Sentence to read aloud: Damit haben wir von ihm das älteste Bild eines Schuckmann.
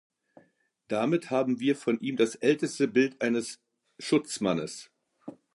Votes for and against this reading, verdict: 0, 2, rejected